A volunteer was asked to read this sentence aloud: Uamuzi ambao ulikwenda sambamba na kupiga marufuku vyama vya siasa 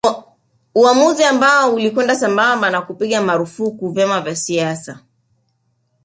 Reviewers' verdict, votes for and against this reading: accepted, 2, 0